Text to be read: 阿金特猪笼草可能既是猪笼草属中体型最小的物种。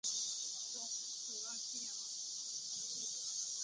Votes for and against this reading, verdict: 0, 8, rejected